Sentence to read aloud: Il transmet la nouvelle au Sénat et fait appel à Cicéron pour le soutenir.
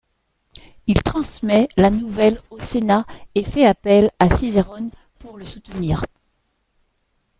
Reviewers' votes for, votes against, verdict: 1, 2, rejected